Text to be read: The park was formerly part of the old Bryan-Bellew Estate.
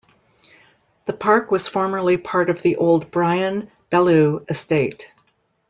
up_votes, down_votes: 2, 0